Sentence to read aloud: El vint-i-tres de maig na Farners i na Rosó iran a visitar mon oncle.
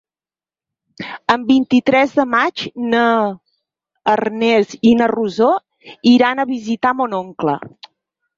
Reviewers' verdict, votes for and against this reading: rejected, 0, 4